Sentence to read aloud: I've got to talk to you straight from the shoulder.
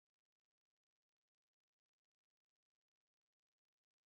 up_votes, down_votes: 0, 2